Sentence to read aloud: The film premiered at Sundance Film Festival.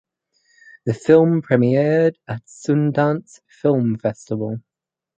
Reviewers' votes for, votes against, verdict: 4, 0, accepted